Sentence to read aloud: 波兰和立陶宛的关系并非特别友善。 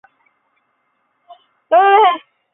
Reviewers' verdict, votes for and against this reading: rejected, 0, 2